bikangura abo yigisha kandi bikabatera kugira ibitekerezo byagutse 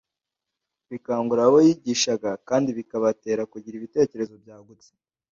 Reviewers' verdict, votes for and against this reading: rejected, 0, 2